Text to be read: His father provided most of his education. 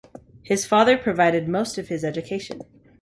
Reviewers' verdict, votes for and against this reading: accepted, 2, 0